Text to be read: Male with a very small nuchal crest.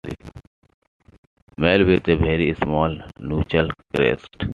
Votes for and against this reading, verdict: 1, 2, rejected